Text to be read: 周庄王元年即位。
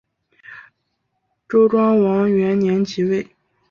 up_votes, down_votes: 2, 0